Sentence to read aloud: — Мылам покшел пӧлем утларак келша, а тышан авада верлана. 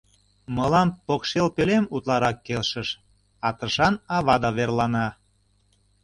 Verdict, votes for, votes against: rejected, 0, 2